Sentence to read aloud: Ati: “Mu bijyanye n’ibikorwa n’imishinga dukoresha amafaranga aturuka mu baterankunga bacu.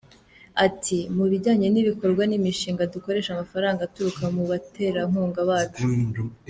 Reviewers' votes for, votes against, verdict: 2, 0, accepted